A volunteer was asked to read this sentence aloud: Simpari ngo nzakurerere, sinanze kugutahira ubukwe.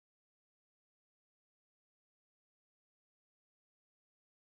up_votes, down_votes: 0, 2